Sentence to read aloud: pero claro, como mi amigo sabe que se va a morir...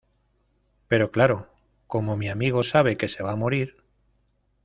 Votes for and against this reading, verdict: 2, 0, accepted